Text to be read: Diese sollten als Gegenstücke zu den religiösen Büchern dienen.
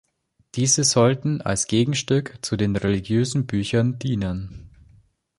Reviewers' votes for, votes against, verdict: 0, 2, rejected